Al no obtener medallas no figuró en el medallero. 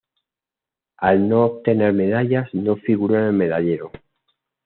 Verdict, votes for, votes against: accepted, 2, 0